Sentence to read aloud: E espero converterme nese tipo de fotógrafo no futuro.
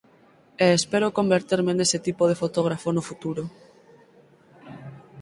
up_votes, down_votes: 4, 0